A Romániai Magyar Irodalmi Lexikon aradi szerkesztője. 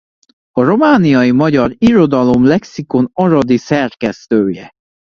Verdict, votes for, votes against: rejected, 0, 2